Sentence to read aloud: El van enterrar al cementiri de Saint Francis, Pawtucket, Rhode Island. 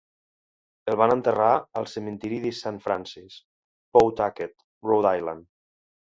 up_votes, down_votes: 2, 0